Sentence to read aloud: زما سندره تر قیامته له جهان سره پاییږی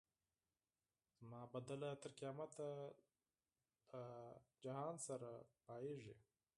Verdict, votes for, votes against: rejected, 0, 4